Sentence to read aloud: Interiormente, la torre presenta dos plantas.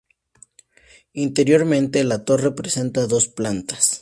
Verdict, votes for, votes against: rejected, 0, 2